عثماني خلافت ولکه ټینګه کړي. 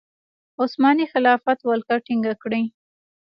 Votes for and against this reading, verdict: 2, 0, accepted